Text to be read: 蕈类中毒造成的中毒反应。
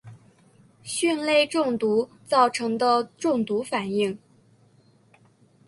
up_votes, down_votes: 4, 0